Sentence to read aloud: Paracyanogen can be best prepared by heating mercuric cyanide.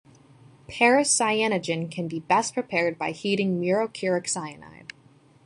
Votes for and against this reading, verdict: 1, 2, rejected